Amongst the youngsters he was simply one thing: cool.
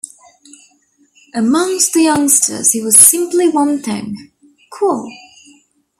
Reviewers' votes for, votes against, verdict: 2, 0, accepted